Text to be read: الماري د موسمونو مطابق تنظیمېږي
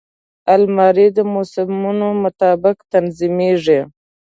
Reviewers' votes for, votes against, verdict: 2, 0, accepted